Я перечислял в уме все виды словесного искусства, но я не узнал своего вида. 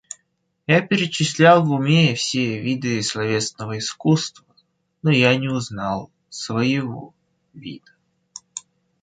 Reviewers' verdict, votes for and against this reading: rejected, 0, 2